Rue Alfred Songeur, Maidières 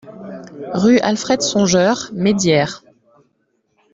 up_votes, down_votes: 2, 0